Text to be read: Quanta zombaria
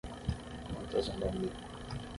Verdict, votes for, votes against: rejected, 3, 6